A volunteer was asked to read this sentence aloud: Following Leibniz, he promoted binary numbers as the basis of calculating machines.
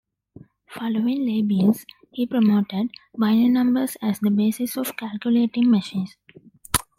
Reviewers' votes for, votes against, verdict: 0, 2, rejected